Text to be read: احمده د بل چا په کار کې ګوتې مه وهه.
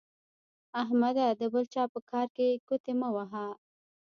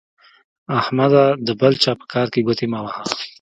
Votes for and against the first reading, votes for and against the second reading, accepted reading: 1, 2, 2, 1, second